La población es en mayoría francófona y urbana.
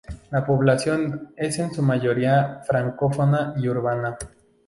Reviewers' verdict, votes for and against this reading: rejected, 0, 4